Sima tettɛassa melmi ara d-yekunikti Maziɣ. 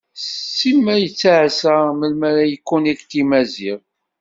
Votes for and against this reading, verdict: 0, 2, rejected